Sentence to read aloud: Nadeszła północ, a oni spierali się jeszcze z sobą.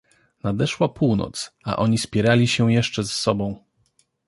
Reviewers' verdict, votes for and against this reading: accepted, 2, 0